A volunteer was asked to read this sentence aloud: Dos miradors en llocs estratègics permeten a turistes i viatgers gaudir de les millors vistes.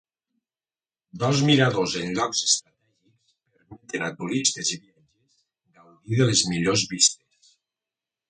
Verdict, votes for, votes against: rejected, 1, 2